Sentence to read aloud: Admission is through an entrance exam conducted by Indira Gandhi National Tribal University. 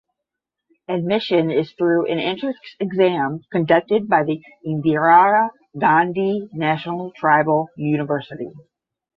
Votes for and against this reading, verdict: 5, 5, rejected